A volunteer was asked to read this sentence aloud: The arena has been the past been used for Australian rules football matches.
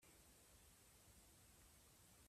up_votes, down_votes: 0, 2